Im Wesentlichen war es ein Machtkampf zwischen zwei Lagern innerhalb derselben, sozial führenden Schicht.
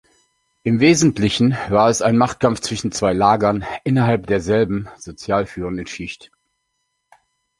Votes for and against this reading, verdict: 2, 0, accepted